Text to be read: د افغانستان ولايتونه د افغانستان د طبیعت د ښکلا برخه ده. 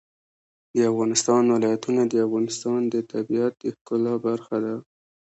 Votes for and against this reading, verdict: 2, 0, accepted